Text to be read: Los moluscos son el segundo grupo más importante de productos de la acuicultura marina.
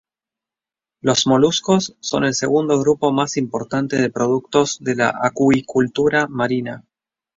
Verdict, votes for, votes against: accepted, 2, 0